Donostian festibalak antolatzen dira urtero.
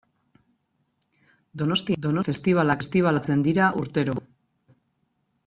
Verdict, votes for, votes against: rejected, 0, 2